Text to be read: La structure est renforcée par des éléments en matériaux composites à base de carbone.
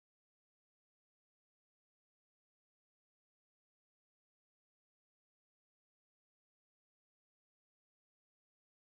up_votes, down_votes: 0, 2